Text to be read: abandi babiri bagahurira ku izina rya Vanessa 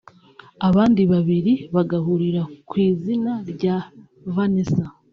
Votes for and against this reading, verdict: 2, 1, accepted